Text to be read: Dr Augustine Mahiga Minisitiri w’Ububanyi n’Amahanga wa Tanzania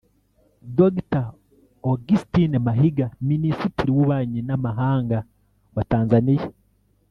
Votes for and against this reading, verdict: 1, 2, rejected